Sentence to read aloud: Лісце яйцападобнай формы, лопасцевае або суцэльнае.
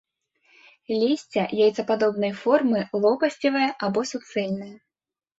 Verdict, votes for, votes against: accepted, 3, 0